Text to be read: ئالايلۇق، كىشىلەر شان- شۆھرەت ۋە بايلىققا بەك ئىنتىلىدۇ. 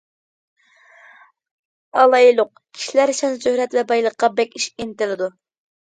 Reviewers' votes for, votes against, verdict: 1, 2, rejected